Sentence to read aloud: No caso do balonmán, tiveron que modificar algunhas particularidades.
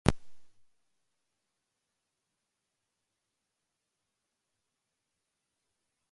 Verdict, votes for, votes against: rejected, 0, 2